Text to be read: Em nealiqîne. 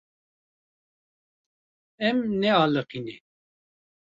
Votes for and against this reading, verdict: 2, 0, accepted